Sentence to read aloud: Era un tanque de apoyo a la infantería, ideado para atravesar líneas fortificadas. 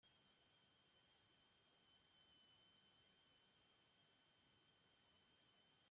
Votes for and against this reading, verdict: 0, 2, rejected